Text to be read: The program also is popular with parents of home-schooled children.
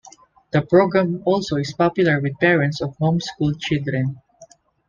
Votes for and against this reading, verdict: 2, 0, accepted